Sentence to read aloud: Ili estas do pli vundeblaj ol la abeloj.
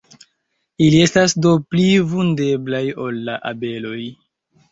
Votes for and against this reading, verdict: 1, 2, rejected